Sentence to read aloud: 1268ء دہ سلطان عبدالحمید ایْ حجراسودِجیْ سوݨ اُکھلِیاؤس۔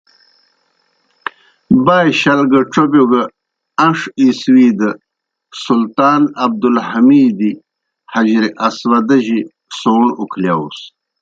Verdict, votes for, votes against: rejected, 0, 2